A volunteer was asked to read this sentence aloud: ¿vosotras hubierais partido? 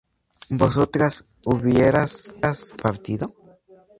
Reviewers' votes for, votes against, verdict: 2, 2, rejected